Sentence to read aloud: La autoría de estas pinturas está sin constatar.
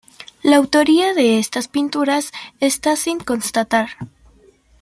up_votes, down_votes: 2, 0